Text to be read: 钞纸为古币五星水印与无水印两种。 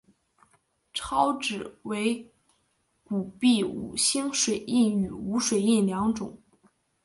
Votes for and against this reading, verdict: 3, 1, accepted